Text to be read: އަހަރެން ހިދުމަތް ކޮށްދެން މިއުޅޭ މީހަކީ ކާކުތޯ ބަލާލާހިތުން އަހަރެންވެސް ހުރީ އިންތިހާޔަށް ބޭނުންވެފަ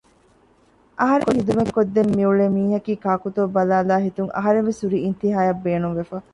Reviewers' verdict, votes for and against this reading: rejected, 1, 2